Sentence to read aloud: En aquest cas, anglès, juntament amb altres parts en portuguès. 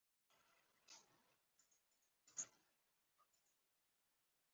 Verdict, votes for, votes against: rejected, 0, 2